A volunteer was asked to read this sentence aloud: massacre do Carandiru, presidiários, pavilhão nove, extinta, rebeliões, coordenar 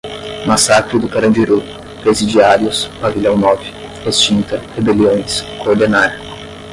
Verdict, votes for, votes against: rejected, 0, 10